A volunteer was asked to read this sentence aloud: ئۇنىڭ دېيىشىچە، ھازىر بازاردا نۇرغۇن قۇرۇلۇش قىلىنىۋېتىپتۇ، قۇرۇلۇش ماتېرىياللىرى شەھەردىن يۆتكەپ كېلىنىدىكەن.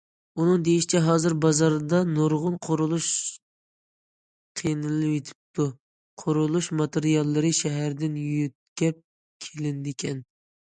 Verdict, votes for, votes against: rejected, 0, 2